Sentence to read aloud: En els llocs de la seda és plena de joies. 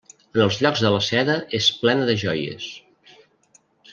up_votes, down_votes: 1, 2